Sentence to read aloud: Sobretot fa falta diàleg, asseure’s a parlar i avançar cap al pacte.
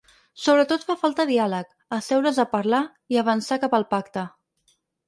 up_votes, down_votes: 6, 0